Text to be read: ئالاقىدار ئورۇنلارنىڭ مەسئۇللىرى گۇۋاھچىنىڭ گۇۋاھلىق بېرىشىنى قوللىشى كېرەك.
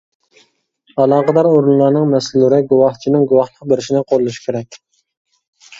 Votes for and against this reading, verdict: 2, 0, accepted